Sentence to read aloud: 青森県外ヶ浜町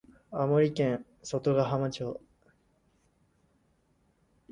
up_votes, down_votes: 2, 0